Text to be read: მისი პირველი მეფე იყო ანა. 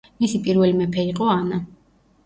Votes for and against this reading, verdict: 2, 0, accepted